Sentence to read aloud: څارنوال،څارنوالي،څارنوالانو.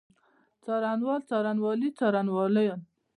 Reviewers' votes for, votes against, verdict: 2, 0, accepted